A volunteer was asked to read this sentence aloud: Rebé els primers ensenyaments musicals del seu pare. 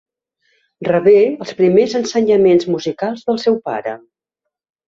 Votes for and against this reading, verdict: 2, 0, accepted